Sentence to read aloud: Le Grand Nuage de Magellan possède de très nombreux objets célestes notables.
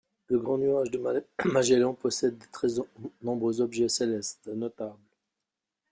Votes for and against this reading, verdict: 0, 2, rejected